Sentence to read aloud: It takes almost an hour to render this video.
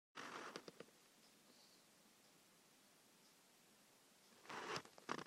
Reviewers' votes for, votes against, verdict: 0, 2, rejected